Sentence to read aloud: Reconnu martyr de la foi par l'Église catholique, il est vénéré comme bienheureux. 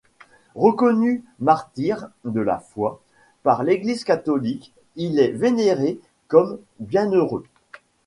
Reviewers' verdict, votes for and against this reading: accepted, 2, 0